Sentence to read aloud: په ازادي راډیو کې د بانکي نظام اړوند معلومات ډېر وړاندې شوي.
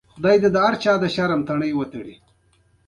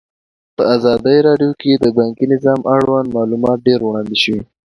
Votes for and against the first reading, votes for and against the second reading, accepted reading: 1, 2, 2, 0, second